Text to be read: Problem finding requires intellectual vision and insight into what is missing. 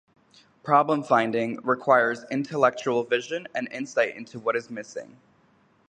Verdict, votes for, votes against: accepted, 2, 0